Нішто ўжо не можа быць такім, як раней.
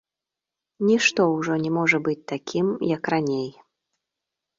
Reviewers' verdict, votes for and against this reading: accepted, 2, 0